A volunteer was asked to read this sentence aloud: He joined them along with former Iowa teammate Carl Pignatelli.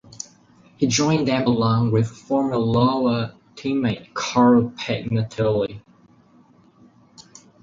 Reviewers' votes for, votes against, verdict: 0, 4, rejected